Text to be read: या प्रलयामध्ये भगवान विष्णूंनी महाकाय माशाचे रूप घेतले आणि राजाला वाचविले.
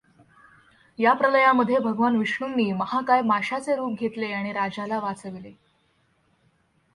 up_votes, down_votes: 2, 0